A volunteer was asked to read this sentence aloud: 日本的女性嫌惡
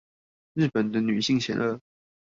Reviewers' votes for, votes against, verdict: 0, 2, rejected